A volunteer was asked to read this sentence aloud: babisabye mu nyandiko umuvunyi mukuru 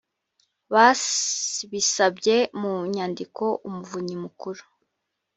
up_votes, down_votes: 0, 2